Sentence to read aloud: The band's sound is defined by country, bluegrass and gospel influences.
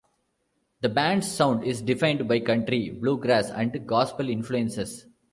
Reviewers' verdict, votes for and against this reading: accepted, 2, 0